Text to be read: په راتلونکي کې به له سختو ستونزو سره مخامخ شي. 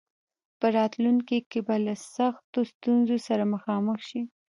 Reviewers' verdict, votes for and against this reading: rejected, 1, 2